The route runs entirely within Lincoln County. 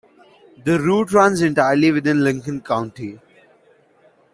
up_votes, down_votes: 2, 0